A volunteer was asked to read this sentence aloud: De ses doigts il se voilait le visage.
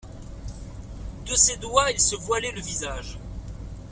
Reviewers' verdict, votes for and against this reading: accepted, 2, 0